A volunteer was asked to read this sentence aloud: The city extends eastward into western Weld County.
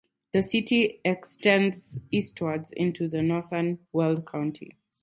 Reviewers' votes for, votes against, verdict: 2, 4, rejected